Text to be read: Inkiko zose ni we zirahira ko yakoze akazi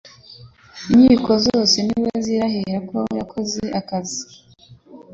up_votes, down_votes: 2, 0